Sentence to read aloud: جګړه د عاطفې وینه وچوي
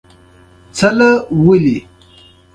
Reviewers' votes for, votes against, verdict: 2, 0, accepted